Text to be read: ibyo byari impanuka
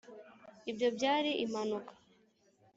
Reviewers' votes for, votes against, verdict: 2, 0, accepted